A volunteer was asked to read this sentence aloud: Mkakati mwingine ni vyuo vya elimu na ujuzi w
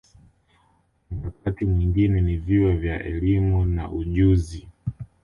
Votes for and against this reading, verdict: 2, 0, accepted